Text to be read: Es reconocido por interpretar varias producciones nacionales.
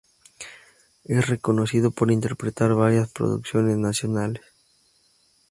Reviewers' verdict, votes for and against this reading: accepted, 6, 0